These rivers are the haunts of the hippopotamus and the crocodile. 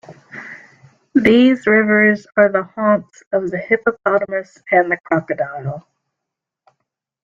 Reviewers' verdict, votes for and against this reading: accepted, 2, 0